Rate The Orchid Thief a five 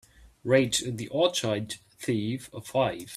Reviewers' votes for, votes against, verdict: 2, 0, accepted